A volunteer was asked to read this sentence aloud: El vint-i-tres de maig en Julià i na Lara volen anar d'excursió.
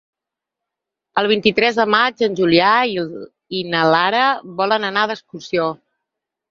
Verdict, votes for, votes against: rejected, 2, 4